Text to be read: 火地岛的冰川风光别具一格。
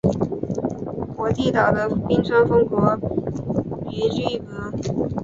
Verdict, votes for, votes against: rejected, 0, 2